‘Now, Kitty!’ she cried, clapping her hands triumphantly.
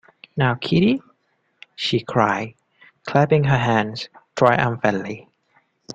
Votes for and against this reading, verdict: 2, 1, accepted